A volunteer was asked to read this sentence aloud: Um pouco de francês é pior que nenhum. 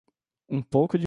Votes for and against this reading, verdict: 0, 2, rejected